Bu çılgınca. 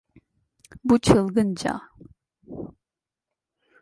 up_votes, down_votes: 2, 0